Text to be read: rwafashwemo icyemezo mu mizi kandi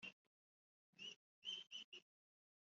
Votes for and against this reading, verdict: 1, 2, rejected